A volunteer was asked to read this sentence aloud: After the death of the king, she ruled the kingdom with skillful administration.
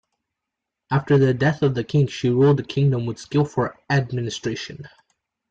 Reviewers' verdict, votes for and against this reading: accepted, 2, 1